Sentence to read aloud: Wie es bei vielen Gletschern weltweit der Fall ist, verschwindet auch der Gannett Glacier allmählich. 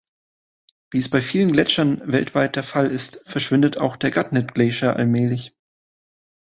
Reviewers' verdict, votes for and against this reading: accepted, 2, 1